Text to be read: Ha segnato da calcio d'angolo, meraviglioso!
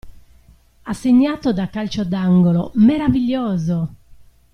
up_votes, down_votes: 2, 0